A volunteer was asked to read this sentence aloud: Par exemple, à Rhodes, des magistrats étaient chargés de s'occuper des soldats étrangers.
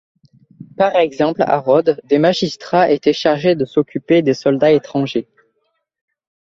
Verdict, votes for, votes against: accepted, 2, 0